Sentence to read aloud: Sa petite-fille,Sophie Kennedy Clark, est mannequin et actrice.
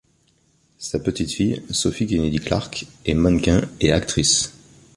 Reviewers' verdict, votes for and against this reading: accepted, 2, 0